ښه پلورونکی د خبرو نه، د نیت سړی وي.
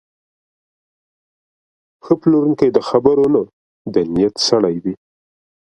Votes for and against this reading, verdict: 1, 2, rejected